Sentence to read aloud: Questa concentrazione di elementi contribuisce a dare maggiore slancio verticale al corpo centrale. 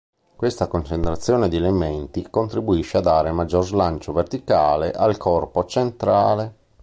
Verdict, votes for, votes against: accepted, 2, 1